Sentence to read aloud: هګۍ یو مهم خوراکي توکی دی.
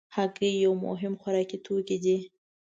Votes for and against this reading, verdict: 2, 0, accepted